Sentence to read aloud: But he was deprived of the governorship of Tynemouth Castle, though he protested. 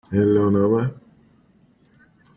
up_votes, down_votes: 1, 2